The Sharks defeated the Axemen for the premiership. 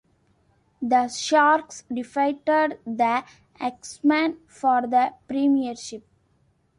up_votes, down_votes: 2, 0